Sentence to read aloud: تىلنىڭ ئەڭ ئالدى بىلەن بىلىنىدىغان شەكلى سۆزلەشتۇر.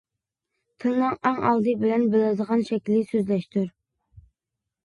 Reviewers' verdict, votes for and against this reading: rejected, 0, 2